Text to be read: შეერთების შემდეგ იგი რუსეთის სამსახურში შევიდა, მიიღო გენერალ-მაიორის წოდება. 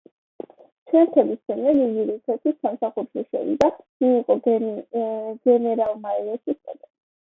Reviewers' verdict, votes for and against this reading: rejected, 0, 2